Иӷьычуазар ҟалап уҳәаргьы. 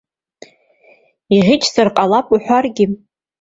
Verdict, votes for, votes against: rejected, 0, 2